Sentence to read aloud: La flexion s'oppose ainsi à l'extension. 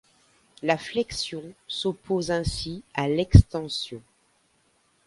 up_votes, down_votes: 2, 0